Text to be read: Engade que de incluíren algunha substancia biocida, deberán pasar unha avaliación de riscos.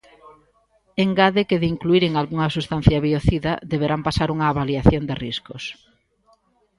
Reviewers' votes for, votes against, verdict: 2, 0, accepted